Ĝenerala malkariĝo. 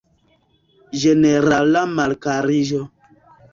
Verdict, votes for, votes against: rejected, 0, 2